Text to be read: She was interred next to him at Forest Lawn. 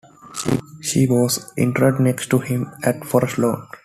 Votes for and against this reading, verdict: 2, 1, accepted